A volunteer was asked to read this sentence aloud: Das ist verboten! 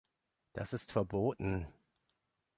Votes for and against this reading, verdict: 2, 0, accepted